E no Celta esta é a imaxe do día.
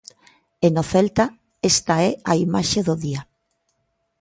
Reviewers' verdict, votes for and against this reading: accepted, 2, 0